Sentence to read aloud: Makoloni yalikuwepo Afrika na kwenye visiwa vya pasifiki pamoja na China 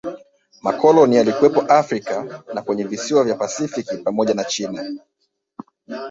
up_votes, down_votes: 2, 0